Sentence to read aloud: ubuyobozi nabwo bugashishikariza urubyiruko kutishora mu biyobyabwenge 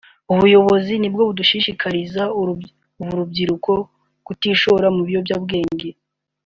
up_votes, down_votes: 0, 2